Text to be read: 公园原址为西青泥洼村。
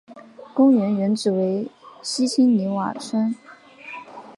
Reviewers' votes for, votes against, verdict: 2, 1, accepted